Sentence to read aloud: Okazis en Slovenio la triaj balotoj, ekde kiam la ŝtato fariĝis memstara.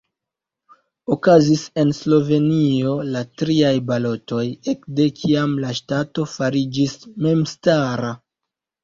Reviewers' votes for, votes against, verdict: 1, 2, rejected